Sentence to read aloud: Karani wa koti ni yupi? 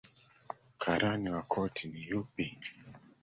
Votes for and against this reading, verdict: 3, 2, accepted